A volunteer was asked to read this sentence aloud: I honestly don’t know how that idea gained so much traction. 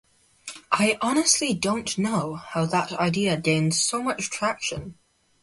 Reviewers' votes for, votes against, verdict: 2, 0, accepted